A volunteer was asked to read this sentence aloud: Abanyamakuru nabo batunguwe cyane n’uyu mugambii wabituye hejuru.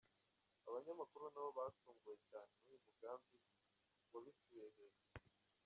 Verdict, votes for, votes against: rejected, 1, 2